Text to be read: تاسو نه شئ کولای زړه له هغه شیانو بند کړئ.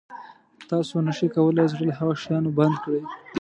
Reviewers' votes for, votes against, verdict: 2, 0, accepted